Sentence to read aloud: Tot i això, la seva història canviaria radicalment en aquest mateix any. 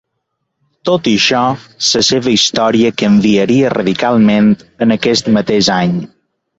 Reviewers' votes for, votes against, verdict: 0, 2, rejected